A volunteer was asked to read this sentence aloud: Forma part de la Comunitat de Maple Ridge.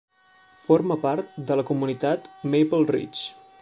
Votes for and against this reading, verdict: 0, 2, rejected